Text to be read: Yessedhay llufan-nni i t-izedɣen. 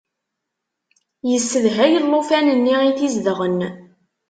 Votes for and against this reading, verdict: 2, 0, accepted